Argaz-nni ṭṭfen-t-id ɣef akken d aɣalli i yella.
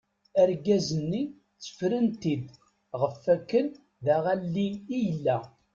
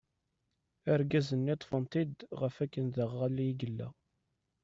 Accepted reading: second